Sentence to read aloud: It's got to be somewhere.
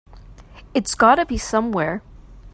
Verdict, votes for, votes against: accepted, 2, 0